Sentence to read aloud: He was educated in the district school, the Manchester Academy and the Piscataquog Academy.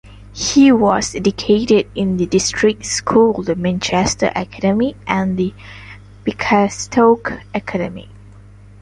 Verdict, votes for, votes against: rejected, 1, 2